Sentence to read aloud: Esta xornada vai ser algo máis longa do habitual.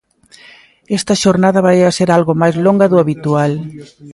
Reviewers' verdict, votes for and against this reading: rejected, 1, 2